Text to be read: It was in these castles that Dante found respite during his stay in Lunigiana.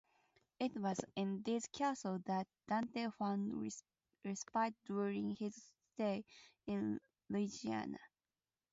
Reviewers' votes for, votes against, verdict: 4, 0, accepted